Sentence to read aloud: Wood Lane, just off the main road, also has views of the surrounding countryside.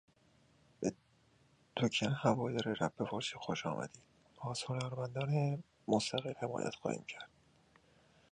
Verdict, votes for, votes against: rejected, 0, 2